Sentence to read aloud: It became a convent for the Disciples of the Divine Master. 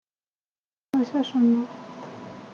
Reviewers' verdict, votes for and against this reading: rejected, 0, 2